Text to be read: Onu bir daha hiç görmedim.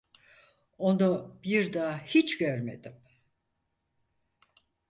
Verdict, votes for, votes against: accepted, 4, 0